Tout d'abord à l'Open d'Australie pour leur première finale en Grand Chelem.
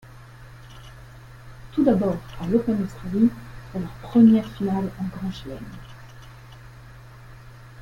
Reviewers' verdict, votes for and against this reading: accepted, 2, 0